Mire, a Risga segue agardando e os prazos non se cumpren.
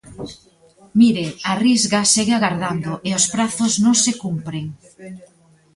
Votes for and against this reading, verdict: 1, 2, rejected